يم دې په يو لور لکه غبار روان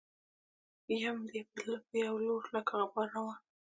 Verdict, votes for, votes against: rejected, 1, 2